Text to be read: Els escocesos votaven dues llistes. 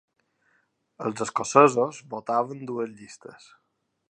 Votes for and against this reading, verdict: 3, 0, accepted